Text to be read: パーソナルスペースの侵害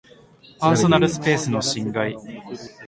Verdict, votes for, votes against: accepted, 2, 0